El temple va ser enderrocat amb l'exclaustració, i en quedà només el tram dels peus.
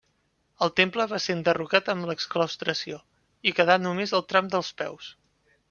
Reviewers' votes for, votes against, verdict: 1, 2, rejected